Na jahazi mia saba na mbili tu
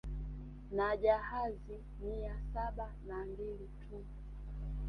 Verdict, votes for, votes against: accepted, 2, 0